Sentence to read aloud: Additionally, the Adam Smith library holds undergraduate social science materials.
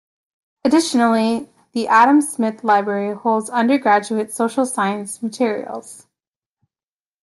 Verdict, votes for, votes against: accepted, 2, 0